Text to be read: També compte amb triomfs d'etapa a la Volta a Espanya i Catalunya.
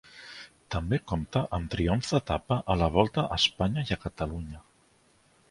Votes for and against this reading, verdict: 3, 0, accepted